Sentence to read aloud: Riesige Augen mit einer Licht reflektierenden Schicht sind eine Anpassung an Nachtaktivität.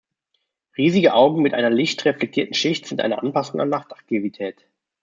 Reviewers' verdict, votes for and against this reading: rejected, 1, 3